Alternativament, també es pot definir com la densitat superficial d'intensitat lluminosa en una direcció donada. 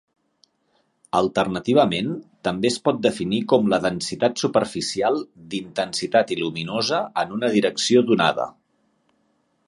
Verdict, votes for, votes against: rejected, 1, 2